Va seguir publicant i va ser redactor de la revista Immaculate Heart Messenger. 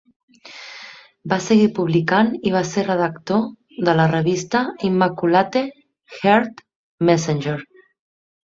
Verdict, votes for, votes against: rejected, 0, 2